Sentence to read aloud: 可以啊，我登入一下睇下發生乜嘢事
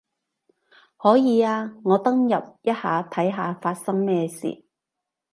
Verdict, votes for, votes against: rejected, 1, 2